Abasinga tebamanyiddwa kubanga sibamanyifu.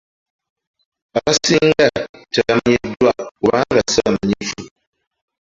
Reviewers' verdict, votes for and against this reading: accepted, 2, 1